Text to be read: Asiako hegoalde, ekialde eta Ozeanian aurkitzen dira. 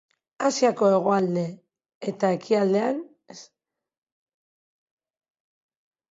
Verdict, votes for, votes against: rejected, 0, 3